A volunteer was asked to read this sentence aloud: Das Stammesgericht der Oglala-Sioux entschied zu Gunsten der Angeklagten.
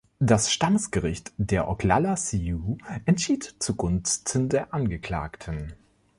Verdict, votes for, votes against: accepted, 2, 1